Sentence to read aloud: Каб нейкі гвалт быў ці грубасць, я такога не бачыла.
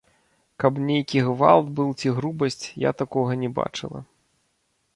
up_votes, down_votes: 0, 2